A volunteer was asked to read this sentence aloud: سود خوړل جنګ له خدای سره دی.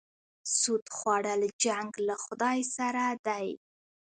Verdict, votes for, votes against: accepted, 2, 0